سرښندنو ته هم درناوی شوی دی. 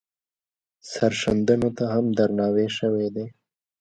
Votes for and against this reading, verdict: 2, 0, accepted